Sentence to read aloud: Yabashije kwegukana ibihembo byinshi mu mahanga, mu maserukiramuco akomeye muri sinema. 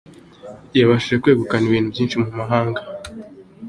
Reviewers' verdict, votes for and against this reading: rejected, 0, 2